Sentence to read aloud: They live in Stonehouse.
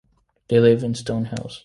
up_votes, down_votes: 2, 0